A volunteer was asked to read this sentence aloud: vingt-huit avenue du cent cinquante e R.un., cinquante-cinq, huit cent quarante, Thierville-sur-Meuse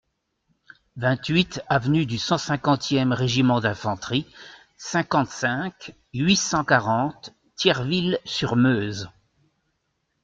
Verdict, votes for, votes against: rejected, 0, 2